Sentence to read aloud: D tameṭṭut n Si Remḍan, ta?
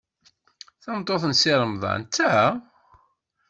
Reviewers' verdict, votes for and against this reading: rejected, 0, 2